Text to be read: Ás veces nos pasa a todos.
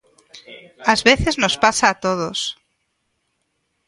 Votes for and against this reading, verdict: 1, 2, rejected